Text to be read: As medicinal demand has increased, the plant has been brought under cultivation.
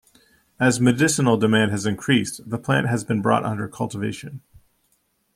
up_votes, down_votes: 2, 0